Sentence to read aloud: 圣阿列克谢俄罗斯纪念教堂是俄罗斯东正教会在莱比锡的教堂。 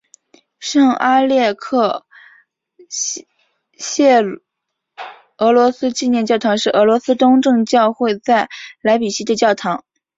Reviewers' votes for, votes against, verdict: 2, 1, accepted